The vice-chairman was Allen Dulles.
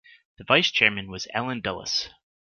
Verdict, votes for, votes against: rejected, 1, 2